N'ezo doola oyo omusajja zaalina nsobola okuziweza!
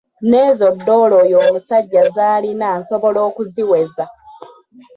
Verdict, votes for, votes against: accepted, 3, 1